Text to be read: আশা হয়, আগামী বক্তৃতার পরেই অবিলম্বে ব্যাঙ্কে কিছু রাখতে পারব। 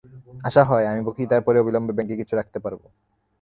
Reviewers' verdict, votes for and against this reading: accepted, 3, 0